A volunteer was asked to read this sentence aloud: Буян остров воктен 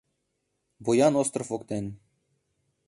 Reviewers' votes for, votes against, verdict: 2, 0, accepted